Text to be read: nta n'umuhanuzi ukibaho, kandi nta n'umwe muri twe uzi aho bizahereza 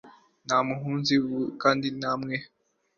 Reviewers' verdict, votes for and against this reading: rejected, 0, 2